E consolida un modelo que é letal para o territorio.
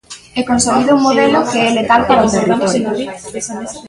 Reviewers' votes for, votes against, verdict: 2, 1, accepted